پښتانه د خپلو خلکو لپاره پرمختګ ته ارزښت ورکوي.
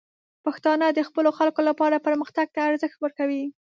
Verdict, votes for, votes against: accepted, 2, 0